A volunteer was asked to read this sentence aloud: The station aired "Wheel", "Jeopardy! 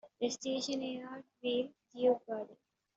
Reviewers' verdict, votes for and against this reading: rejected, 0, 2